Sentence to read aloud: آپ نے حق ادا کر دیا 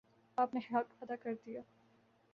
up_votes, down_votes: 2, 0